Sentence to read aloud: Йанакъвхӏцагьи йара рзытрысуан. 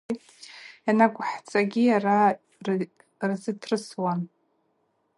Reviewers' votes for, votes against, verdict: 0, 2, rejected